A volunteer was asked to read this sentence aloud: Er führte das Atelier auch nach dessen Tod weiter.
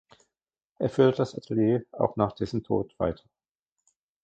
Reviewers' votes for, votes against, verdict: 0, 2, rejected